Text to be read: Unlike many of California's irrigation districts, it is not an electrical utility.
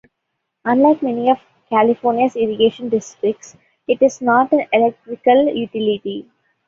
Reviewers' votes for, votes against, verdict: 2, 0, accepted